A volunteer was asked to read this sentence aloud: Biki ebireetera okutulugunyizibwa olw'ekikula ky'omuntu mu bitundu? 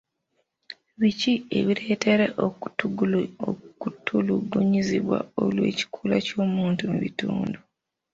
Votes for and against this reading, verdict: 1, 2, rejected